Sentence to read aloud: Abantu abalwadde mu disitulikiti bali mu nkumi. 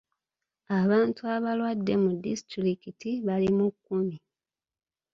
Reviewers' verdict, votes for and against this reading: rejected, 0, 2